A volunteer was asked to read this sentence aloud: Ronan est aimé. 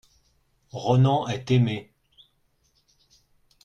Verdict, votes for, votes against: accepted, 2, 0